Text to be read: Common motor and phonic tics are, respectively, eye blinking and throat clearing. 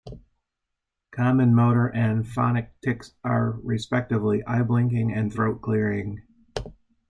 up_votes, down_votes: 2, 0